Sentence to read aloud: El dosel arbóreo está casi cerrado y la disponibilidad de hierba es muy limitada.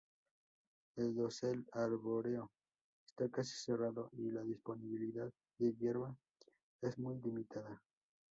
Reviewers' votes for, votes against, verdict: 0, 4, rejected